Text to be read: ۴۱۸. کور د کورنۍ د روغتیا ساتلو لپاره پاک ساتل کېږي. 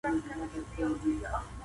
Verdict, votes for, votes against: rejected, 0, 2